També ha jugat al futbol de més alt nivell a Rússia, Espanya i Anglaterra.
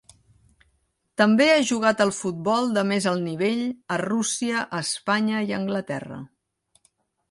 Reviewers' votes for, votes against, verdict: 2, 0, accepted